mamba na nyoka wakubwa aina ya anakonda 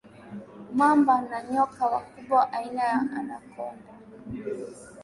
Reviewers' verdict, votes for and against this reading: accepted, 2, 0